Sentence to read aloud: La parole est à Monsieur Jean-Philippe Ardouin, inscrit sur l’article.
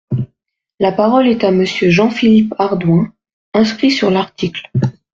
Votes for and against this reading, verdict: 0, 2, rejected